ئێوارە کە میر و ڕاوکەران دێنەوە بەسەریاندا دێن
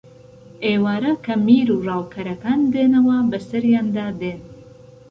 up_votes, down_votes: 2, 0